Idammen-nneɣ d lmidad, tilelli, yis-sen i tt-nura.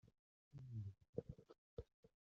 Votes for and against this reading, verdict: 0, 2, rejected